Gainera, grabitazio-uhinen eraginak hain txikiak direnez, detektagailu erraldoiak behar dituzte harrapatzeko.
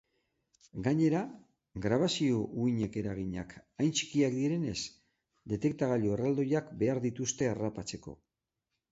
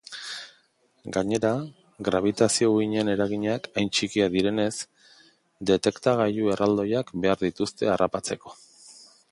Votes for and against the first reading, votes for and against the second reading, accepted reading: 3, 6, 2, 0, second